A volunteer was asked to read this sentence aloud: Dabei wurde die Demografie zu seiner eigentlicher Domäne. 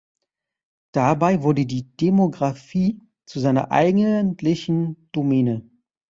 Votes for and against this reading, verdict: 0, 2, rejected